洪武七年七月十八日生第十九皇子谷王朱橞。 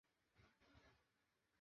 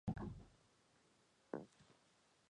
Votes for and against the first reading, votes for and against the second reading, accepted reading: 0, 2, 2, 0, second